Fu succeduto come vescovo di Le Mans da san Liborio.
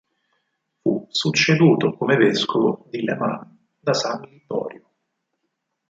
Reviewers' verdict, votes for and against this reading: rejected, 2, 4